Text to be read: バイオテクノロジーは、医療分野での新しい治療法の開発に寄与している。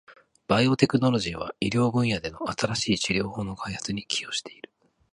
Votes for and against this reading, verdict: 2, 0, accepted